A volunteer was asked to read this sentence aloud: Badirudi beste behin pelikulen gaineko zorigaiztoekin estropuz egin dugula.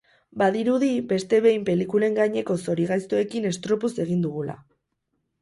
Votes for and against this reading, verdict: 6, 0, accepted